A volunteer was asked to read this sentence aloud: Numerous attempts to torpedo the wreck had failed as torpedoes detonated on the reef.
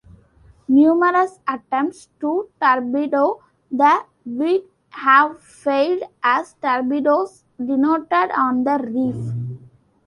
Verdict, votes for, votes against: rejected, 0, 2